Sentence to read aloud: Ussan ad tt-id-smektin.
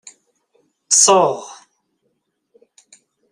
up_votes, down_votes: 0, 2